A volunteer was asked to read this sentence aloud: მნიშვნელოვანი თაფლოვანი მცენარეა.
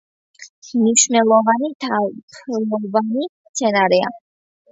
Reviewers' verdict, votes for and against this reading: rejected, 0, 2